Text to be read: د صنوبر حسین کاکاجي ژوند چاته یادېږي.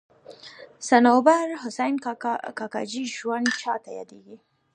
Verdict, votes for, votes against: rejected, 1, 2